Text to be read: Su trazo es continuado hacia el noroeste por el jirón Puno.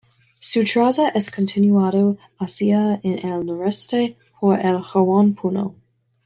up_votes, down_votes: 1, 2